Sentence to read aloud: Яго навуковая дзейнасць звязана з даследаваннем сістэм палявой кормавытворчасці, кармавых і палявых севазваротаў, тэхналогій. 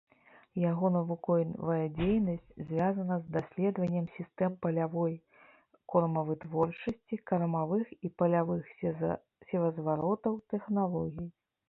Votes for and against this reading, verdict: 1, 2, rejected